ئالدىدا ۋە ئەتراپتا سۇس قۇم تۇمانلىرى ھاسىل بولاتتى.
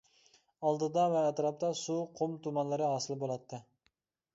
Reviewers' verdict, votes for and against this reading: accepted, 2, 0